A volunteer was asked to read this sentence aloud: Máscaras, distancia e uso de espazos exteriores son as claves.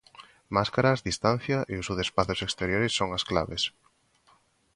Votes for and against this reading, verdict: 2, 0, accepted